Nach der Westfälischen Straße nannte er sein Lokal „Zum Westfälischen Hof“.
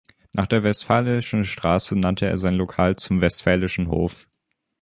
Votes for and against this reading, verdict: 0, 2, rejected